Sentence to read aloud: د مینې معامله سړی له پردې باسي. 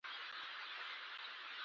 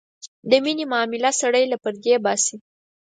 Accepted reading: second